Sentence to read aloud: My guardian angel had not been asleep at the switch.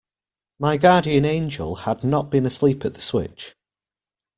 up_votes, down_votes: 2, 0